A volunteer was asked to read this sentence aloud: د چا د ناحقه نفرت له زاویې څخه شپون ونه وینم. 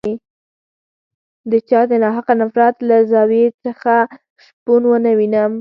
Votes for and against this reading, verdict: 4, 0, accepted